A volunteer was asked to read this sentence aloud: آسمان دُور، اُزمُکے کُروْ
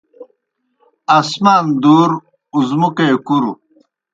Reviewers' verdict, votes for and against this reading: accepted, 2, 0